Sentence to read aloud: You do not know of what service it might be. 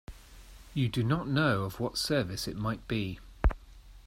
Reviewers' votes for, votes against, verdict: 2, 0, accepted